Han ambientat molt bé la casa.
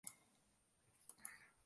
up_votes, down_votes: 0, 2